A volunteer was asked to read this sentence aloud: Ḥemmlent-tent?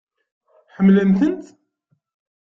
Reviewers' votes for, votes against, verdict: 2, 0, accepted